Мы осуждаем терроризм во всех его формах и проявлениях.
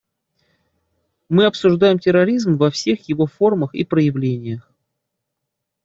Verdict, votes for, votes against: rejected, 1, 2